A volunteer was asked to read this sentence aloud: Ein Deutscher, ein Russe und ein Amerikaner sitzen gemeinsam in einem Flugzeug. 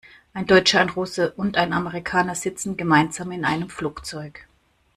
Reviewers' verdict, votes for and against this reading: accepted, 2, 0